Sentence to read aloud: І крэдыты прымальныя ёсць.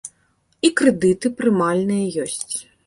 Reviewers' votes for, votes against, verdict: 2, 0, accepted